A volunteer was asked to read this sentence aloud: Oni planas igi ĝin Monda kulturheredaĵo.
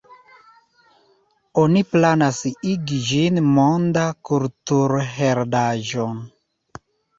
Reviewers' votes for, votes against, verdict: 1, 2, rejected